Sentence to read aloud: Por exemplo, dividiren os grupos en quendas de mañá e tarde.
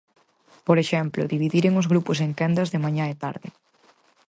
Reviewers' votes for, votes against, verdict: 4, 0, accepted